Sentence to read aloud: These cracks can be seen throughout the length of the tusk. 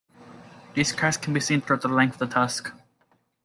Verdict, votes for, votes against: rejected, 0, 2